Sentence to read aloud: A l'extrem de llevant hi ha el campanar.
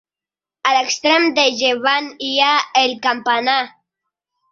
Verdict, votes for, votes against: accepted, 2, 1